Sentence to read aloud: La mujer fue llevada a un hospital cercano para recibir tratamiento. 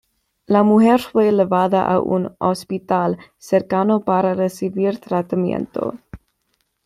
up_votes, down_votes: 1, 2